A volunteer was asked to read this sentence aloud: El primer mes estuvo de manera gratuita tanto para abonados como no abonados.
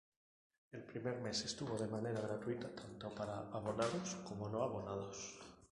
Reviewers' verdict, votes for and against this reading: rejected, 0, 2